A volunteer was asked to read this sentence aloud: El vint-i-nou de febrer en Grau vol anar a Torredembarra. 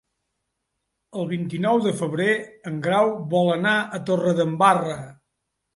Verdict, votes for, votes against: accepted, 3, 0